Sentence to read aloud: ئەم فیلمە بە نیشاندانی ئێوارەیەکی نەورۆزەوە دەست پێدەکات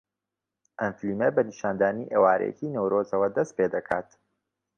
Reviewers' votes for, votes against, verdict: 2, 0, accepted